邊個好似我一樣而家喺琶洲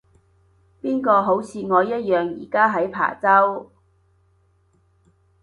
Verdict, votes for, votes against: accepted, 2, 0